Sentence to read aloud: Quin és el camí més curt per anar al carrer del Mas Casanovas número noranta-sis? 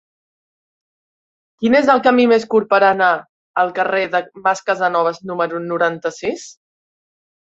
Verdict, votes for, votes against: rejected, 1, 2